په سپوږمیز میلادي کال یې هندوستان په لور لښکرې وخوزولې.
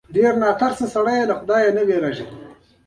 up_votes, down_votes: 0, 2